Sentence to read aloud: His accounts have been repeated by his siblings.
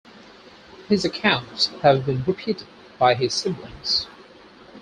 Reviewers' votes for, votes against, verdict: 4, 0, accepted